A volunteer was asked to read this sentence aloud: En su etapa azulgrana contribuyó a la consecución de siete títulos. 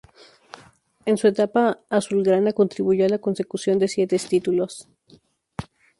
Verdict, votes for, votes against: rejected, 0, 2